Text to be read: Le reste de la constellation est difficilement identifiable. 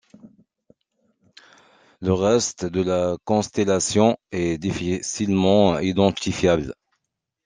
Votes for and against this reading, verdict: 1, 2, rejected